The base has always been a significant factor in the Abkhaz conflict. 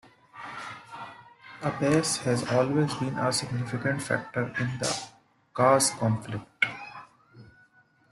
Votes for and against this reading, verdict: 2, 1, accepted